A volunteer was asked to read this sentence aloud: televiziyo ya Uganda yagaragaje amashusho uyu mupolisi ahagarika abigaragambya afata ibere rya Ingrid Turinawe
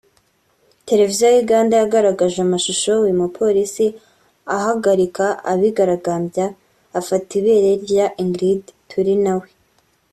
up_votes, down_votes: 2, 0